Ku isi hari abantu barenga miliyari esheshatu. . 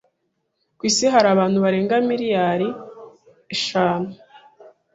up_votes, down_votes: 0, 2